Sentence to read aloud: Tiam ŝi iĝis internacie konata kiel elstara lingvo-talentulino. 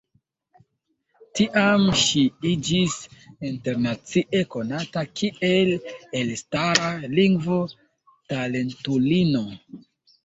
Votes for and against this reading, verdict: 2, 1, accepted